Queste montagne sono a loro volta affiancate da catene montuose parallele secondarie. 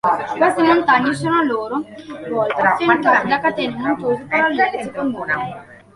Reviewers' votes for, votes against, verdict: 1, 2, rejected